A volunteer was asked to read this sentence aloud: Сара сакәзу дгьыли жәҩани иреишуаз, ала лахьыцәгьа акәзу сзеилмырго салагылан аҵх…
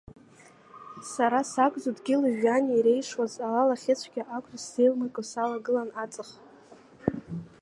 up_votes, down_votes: 2, 0